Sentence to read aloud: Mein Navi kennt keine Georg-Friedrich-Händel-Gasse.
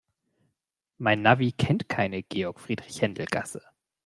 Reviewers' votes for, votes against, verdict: 2, 0, accepted